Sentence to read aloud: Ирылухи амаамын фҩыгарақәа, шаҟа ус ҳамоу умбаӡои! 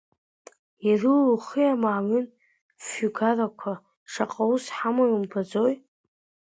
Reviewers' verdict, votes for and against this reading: rejected, 1, 2